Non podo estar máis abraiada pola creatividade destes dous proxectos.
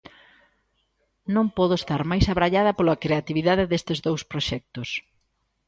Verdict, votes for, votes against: accepted, 2, 0